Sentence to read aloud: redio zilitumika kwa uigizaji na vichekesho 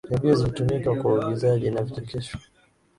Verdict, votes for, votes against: accepted, 2, 0